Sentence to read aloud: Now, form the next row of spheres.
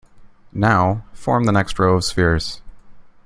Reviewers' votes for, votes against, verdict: 2, 0, accepted